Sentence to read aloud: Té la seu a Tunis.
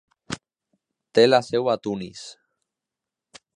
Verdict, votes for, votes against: accepted, 2, 0